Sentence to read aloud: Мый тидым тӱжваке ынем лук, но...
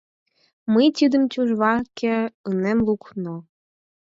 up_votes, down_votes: 4, 0